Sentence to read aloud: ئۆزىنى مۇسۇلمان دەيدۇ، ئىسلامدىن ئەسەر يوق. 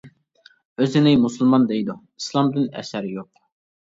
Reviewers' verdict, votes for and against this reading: accepted, 2, 0